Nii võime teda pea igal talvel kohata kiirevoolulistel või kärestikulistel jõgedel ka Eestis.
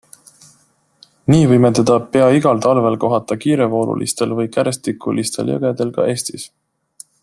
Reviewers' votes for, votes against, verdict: 2, 0, accepted